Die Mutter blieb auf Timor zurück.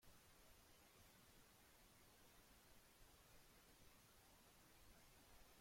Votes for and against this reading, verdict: 0, 2, rejected